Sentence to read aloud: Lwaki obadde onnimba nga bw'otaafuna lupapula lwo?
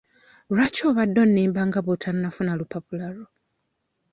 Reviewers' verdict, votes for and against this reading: rejected, 1, 2